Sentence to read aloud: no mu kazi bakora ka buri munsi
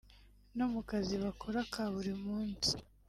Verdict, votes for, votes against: accepted, 2, 1